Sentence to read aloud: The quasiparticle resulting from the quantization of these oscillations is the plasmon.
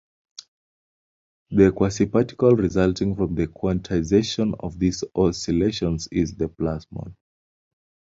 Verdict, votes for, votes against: accepted, 2, 0